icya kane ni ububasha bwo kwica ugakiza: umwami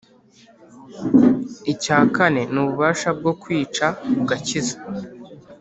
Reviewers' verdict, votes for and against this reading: accepted, 2, 1